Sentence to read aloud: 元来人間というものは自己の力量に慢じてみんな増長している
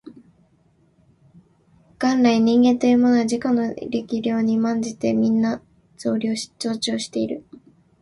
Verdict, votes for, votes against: rejected, 1, 3